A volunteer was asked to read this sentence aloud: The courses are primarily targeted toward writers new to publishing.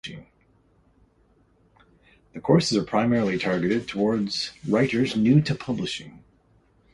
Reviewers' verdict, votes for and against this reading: accepted, 2, 0